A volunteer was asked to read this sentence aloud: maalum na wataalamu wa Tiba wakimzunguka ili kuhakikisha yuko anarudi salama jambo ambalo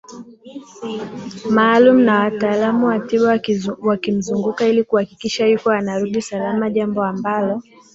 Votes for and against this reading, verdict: 0, 2, rejected